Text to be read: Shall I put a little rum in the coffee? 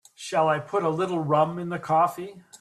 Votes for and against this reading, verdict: 2, 0, accepted